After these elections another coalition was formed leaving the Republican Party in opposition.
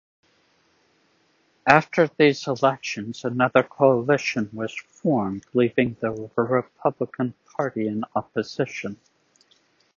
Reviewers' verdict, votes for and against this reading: accepted, 2, 1